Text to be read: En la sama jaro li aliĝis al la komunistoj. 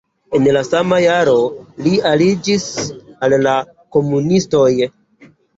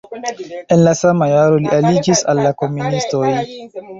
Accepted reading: first